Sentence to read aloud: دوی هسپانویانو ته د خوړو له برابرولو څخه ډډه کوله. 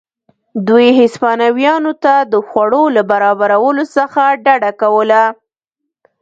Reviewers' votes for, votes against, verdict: 1, 2, rejected